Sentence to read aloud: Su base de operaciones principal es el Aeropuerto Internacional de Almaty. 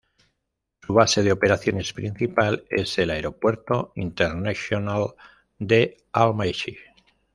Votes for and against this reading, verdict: 1, 2, rejected